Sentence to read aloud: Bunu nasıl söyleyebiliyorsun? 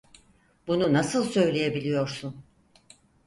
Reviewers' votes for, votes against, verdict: 4, 0, accepted